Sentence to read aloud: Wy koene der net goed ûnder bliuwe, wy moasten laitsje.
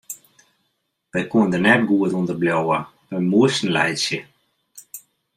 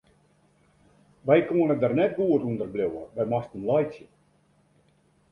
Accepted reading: second